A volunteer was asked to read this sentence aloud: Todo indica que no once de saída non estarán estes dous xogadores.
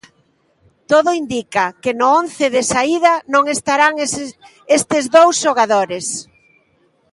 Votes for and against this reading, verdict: 1, 2, rejected